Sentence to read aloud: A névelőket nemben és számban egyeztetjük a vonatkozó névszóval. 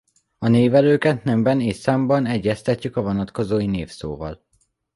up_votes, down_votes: 0, 2